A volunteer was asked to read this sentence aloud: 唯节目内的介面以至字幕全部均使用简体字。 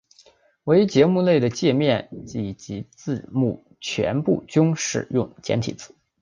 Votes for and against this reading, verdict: 4, 1, accepted